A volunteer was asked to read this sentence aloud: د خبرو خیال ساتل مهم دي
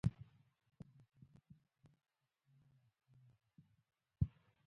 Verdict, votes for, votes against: accepted, 2, 1